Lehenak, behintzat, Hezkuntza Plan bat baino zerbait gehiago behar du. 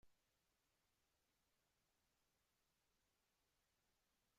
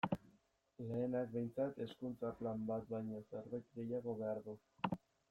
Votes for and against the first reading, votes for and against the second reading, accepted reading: 0, 2, 2, 0, second